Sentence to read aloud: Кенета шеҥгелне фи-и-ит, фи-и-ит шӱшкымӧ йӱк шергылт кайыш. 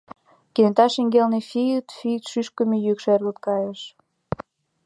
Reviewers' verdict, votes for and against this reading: accepted, 2, 0